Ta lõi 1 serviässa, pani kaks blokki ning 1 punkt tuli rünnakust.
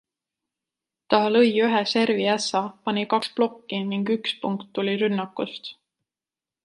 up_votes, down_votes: 0, 2